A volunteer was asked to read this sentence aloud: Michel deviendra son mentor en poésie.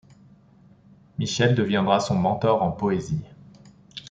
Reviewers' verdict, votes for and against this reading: accepted, 2, 0